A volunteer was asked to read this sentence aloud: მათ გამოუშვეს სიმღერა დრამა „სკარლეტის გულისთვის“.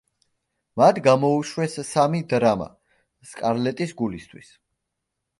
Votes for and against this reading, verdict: 0, 2, rejected